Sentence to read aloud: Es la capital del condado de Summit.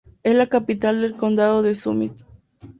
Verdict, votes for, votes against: accepted, 2, 0